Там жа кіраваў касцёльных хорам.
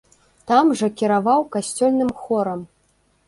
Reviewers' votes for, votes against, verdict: 1, 2, rejected